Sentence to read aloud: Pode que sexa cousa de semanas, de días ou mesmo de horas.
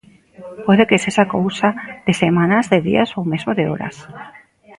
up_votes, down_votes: 2, 0